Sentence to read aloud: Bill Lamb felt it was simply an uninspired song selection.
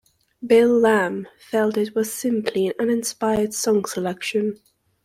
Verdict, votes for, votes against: rejected, 1, 2